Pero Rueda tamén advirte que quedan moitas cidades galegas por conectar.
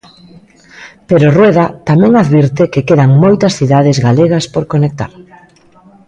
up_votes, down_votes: 1, 2